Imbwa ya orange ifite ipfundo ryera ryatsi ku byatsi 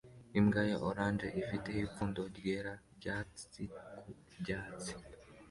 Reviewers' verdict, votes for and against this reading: accepted, 2, 0